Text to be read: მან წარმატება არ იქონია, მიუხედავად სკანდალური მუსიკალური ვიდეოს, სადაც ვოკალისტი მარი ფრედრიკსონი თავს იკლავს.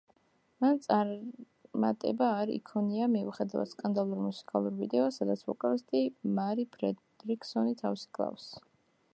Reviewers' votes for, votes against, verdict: 0, 2, rejected